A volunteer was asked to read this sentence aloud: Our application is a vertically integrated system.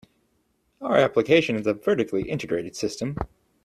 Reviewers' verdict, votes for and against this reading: accepted, 2, 0